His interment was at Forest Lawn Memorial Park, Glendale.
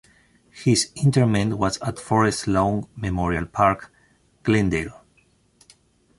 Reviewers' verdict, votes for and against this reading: accepted, 2, 0